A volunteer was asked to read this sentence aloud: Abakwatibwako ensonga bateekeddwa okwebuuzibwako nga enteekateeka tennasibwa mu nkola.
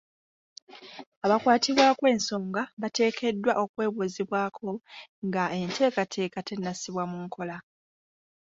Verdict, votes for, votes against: accepted, 2, 0